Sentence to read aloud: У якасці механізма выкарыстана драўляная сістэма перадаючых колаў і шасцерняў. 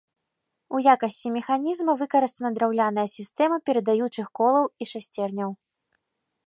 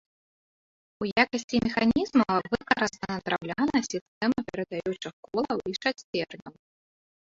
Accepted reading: first